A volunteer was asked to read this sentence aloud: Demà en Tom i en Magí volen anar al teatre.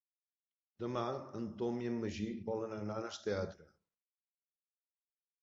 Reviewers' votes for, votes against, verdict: 0, 2, rejected